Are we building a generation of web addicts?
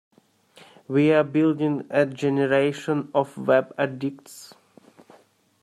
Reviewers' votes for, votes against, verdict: 1, 2, rejected